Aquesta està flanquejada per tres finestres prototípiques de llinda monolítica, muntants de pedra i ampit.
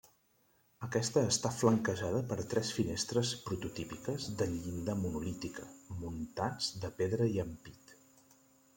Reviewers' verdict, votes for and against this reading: rejected, 0, 2